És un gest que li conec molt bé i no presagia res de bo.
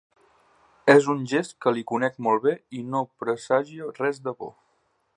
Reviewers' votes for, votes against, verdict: 2, 1, accepted